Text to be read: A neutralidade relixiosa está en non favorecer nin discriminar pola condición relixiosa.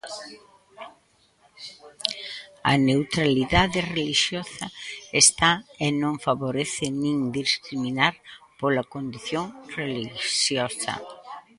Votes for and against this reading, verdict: 0, 2, rejected